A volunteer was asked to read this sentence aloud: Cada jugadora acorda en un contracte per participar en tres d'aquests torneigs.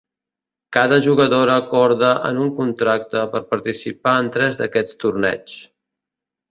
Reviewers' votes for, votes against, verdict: 2, 0, accepted